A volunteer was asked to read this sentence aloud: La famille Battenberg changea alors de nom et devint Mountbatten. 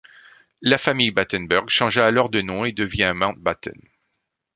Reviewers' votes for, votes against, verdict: 1, 2, rejected